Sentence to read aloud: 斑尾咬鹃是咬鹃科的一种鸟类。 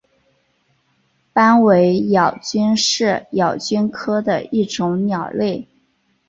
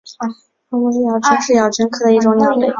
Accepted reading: first